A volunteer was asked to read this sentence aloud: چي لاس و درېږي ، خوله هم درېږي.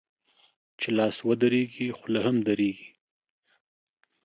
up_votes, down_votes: 2, 0